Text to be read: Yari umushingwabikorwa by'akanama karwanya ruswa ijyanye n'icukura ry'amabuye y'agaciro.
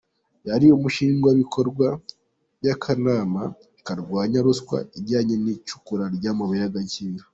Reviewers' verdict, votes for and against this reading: accepted, 2, 1